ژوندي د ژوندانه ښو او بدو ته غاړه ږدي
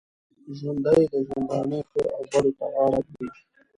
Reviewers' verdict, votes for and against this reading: accepted, 2, 1